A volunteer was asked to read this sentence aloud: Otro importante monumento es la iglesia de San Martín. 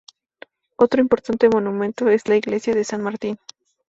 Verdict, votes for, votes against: accepted, 2, 0